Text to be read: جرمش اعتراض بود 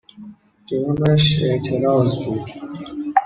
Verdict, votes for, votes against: rejected, 1, 2